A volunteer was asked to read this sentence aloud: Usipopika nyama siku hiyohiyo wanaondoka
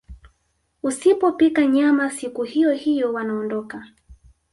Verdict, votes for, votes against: rejected, 0, 2